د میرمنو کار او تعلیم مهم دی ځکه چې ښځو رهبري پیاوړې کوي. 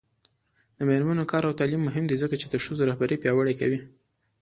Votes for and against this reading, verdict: 0, 2, rejected